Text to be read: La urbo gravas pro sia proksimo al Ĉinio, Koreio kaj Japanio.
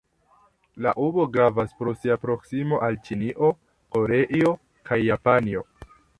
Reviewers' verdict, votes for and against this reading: rejected, 0, 2